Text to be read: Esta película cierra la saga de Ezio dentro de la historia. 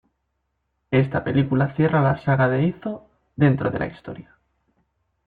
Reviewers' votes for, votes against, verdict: 1, 2, rejected